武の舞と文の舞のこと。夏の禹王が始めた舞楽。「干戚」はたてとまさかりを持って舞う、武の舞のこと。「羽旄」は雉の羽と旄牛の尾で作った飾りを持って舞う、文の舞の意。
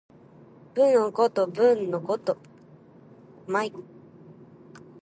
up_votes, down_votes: 0, 2